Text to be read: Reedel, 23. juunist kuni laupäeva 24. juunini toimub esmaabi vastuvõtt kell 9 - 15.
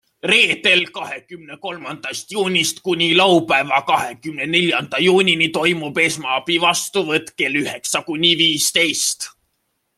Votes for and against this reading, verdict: 0, 2, rejected